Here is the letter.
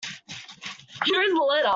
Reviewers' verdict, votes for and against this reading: rejected, 1, 2